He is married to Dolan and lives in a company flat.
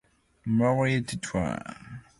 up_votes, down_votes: 0, 2